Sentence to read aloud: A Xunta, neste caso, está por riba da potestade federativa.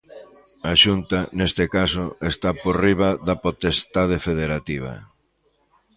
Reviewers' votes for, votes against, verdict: 2, 0, accepted